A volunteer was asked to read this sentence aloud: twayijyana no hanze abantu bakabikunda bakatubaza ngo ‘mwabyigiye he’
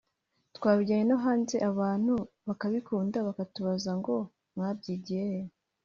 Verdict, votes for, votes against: accepted, 3, 1